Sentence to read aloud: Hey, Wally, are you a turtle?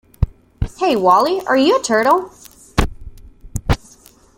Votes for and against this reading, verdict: 2, 0, accepted